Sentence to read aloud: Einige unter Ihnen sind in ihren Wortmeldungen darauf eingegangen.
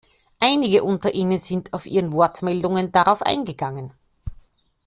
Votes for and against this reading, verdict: 1, 2, rejected